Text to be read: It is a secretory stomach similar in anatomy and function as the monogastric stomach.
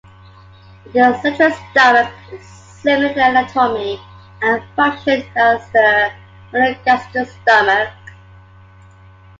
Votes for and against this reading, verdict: 1, 3, rejected